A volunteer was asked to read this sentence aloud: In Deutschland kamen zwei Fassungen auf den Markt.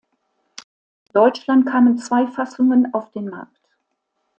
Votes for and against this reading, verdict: 1, 2, rejected